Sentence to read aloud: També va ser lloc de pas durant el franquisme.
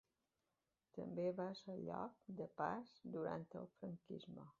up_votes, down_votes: 1, 2